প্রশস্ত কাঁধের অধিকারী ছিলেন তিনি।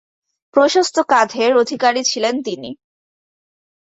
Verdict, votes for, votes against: accepted, 2, 1